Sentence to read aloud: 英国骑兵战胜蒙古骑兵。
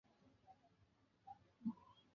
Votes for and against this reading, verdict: 0, 4, rejected